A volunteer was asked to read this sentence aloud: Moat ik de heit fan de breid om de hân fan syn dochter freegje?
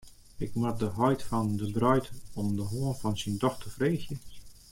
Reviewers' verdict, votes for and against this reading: rejected, 0, 2